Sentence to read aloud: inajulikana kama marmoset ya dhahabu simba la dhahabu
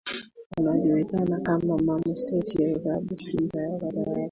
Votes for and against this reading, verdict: 1, 2, rejected